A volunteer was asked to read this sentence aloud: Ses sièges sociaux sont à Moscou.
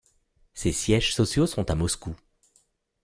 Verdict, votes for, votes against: accepted, 2, 0